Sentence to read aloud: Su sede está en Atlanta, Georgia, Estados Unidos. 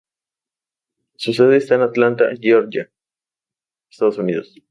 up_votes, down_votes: 2, 0